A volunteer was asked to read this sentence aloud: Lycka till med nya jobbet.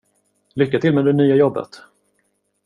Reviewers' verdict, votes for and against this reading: rejected, 0, 2